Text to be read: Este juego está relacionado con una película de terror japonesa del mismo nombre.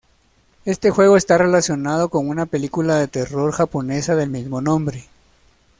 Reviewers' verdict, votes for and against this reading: accepted, 2, 0